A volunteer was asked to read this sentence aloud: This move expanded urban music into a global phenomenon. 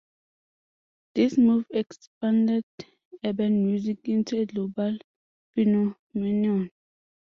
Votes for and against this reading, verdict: 2, 0, accepted